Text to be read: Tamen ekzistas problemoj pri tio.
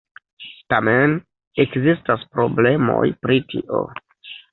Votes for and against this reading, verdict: 1, 2, rejected